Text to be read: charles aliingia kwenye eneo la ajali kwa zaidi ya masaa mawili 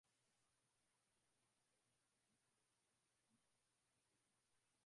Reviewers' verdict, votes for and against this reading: rejected, 0, 2